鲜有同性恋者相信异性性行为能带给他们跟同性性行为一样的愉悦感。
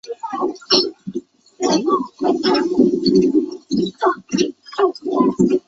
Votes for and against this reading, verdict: 0, 2, rejected